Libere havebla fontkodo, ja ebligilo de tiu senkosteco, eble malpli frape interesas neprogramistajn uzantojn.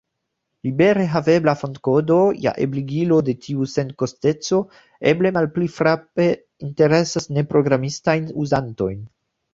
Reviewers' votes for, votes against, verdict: 2, 1, accepted